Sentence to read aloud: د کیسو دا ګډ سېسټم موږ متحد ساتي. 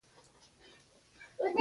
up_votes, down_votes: 2, 1